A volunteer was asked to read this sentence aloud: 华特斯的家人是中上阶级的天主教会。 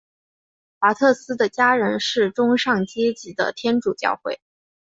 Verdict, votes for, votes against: accepted, 4, 0